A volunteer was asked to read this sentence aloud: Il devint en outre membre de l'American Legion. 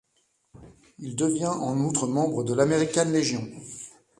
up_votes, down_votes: 1, 2